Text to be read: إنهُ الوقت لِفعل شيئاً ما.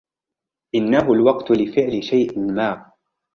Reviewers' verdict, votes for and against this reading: rejected, 0, 2